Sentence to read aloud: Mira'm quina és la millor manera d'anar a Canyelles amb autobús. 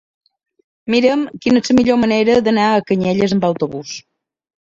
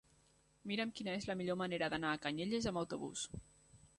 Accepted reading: second